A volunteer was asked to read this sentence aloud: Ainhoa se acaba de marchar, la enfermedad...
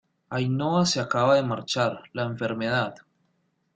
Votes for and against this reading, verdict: 2, 0, accepted